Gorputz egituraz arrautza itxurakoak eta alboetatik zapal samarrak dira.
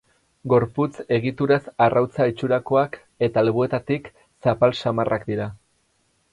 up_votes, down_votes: 4, 0